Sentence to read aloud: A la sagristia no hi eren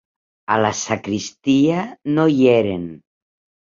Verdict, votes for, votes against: rejected, 2, 3